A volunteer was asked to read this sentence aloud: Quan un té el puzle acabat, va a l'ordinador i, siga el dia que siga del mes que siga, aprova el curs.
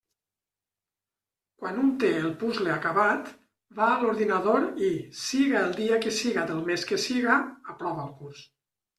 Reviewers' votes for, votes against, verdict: 2, 0, accepted